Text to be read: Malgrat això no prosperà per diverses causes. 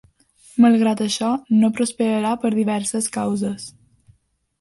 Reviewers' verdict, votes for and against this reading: rejected, 1, 2